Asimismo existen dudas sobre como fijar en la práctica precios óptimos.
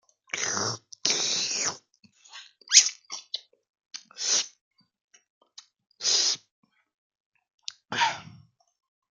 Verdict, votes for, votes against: rejected, 0, 2